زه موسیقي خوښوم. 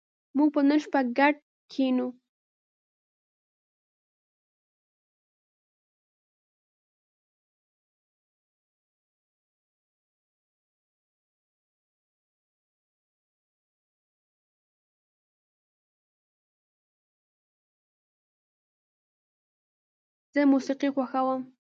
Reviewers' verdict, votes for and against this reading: rejected, 0, 2